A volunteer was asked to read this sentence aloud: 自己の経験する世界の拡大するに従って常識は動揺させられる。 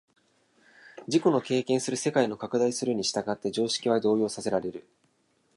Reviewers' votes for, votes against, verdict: 2, 0, accepted